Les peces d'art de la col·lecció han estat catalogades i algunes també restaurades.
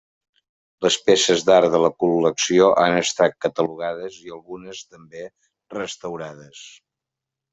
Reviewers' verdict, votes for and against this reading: accepted, 3, 0